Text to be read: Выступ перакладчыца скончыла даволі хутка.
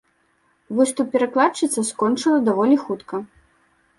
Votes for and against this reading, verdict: 2, 1, accepted